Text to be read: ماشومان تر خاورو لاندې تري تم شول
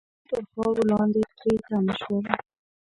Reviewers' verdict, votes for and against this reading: rejected, 1, 2